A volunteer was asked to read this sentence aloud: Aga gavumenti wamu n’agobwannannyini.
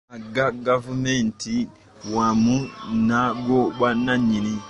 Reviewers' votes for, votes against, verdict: 0, 2, rejected